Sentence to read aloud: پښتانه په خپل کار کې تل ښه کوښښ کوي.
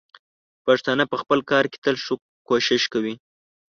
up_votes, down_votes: 2, 0